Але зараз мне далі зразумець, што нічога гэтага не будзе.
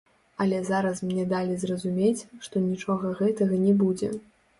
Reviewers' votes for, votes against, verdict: 1, 2, rejected